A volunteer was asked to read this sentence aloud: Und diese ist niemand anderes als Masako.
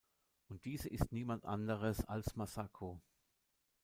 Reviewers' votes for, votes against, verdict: 1, 2, rejected